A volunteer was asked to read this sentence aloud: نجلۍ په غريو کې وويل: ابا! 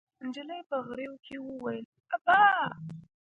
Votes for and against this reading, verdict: 0, 2, rejected